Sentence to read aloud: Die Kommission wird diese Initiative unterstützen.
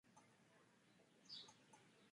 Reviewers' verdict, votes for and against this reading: rejected, 0, 2